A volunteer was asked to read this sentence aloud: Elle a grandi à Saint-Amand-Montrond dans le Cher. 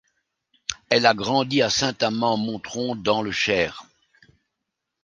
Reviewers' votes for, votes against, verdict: 0, 2, rejected